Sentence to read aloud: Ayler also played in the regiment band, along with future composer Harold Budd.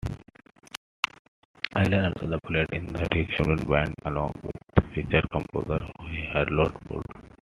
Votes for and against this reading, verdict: 1, 2, rejected